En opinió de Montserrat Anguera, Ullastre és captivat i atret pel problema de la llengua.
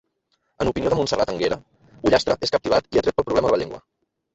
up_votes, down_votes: 1, 2